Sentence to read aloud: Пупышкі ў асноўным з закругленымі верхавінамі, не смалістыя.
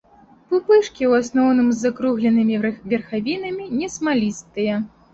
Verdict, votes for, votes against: rejected, 0, 2